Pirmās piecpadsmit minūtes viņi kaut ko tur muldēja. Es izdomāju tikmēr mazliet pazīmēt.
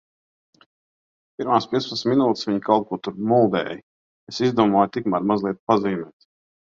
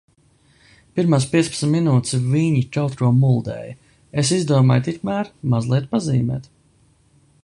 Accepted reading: first